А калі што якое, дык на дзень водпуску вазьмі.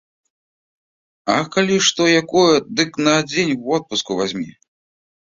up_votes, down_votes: 2, 0